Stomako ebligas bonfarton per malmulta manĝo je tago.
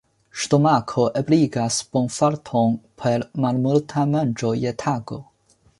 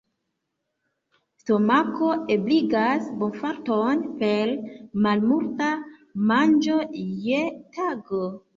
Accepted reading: first